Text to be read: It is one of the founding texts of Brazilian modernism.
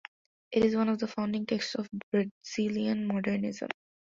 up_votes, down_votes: 2, 0